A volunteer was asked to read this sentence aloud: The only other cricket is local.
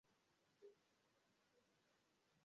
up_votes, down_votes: 0, 2